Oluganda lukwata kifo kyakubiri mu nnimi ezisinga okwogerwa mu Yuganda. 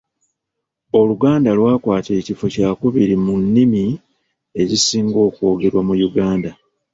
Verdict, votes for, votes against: rejected, 1, 2